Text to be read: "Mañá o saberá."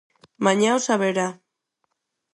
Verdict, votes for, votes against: accepted, 4, 0